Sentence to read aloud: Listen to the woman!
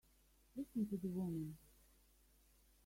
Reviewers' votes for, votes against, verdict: 1, 2, rejected